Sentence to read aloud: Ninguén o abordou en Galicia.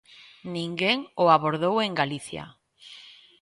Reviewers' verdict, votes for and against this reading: accepted, 2, 0